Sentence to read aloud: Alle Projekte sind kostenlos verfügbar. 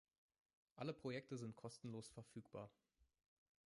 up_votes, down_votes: 0, 2